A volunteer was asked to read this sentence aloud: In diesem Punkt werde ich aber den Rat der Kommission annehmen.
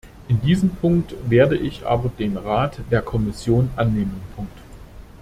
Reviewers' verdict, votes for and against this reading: rejected, 0, 2